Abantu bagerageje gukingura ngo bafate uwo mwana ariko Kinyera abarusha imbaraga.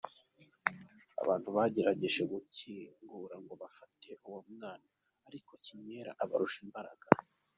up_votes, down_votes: 2, 0